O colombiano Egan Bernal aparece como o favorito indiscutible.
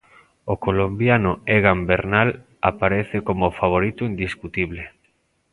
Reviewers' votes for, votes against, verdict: 3, 0, accepted